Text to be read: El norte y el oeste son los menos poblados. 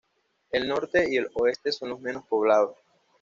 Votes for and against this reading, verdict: 2, 0, accepted